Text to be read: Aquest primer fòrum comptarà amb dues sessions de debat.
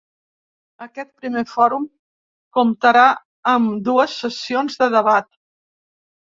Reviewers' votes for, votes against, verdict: 2, 0, accepted